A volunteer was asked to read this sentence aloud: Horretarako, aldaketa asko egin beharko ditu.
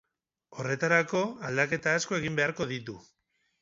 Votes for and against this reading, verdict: 4, 0, accepted